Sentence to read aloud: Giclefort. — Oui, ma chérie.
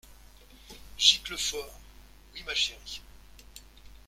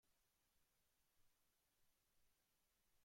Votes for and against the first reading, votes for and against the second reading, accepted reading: 2, 1, 0, 2, first